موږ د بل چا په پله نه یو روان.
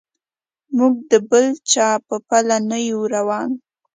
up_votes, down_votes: 2, 0